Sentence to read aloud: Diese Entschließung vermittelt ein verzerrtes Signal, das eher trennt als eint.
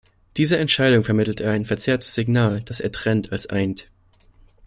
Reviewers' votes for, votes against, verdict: 0, 2, rejected